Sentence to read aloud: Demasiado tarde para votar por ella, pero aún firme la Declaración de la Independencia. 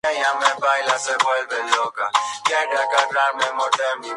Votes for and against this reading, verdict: 0, 2, rejected